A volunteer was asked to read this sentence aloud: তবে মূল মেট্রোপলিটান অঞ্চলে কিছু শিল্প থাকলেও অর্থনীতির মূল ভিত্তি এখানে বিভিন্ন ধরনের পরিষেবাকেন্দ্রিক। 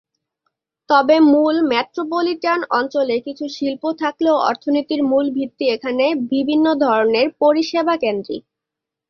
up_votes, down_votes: 2, 0